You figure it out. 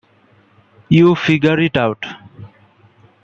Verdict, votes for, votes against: accepted, 2, 0